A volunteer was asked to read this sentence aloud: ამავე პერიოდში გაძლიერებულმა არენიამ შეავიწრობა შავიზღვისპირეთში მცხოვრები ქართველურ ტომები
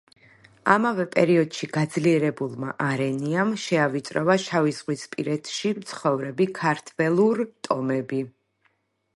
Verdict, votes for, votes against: accepted, 2, 0